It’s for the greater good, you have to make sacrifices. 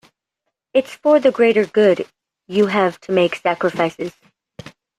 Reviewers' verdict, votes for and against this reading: accepted, 2, 0